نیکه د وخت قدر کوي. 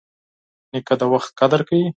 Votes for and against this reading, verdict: 4, 0, accepted